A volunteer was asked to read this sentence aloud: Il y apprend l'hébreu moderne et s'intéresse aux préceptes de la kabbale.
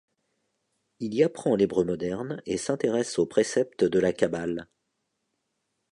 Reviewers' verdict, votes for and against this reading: accepted, 3, 0